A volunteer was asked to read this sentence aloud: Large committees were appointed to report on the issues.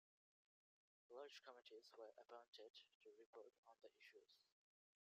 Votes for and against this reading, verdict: 2, 1, accepted